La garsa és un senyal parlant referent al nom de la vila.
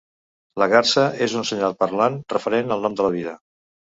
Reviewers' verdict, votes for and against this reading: rejected, 1, 2